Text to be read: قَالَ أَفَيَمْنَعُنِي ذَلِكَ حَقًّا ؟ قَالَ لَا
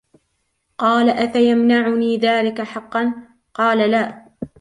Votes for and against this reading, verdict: 2, 0, accepted